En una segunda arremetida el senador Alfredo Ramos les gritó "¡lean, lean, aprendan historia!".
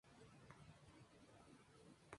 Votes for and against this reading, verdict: 0, 2, rejected